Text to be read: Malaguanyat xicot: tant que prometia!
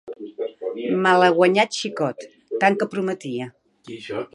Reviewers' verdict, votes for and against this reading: rejected, 1, 2